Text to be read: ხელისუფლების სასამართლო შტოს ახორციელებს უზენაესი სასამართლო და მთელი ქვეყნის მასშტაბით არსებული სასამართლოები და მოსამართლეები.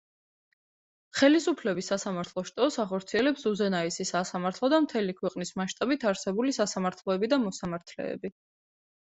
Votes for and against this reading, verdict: 2, 0, accepted